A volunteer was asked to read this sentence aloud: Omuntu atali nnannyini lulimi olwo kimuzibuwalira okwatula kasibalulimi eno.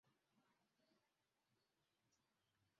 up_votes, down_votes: 0, 2